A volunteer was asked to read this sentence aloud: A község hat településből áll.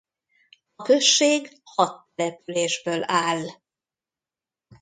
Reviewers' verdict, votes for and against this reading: rejected, 0, 2